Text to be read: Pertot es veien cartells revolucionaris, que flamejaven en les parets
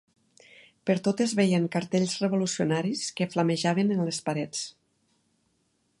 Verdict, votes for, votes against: accepted, 2, 0